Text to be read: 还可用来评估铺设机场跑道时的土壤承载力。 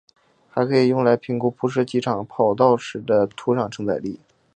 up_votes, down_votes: 0, 2